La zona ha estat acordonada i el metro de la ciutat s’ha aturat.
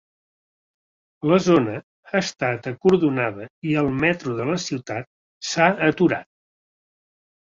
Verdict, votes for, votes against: accepted, 2, 0